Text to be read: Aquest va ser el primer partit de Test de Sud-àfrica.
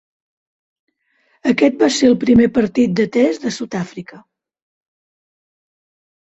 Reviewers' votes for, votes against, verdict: 2, 0, accepted